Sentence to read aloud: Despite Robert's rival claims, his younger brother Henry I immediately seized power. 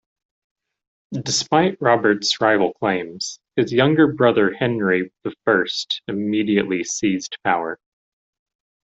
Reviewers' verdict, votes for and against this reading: accepted, 2, 0